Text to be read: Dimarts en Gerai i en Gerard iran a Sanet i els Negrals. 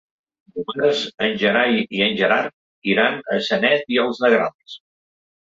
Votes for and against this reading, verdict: 1, 2, rejected